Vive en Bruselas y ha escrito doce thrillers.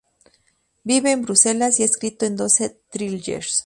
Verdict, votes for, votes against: rejected, 0, 2